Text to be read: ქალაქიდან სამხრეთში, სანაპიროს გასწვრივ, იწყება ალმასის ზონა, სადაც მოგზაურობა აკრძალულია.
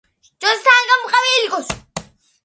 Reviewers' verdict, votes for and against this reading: rejected, 0, 2